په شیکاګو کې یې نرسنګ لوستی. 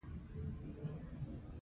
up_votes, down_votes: 0, 2